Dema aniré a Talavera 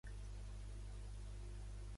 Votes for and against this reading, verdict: 0, 2, rejected